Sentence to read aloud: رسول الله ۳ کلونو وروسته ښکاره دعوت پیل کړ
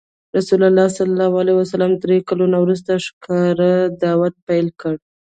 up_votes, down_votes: 0, 2